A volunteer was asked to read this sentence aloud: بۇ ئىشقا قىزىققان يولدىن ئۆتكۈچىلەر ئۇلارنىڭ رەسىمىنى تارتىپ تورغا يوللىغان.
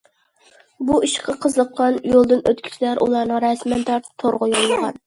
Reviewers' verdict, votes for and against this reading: accepted, 2, 0